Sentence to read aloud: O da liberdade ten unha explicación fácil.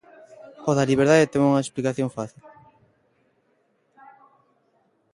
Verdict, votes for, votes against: rejected, 1, 2